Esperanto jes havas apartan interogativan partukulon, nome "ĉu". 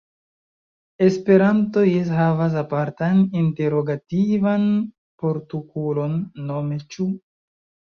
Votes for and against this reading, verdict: 1, 2, rejected